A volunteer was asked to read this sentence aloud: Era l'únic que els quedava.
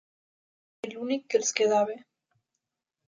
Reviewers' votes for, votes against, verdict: 0, 2, rejected